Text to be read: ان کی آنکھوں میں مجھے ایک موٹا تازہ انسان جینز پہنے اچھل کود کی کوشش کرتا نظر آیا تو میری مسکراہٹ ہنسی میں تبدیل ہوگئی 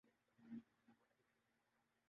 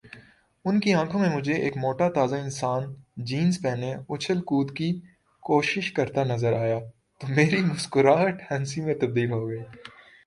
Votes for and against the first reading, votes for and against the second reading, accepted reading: 0, 2, 2, 0, second